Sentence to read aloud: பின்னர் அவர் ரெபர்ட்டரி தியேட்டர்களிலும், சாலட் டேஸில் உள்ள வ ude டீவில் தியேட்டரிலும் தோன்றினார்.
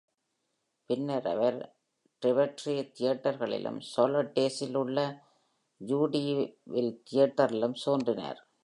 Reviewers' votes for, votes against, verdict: 1, 2, rejected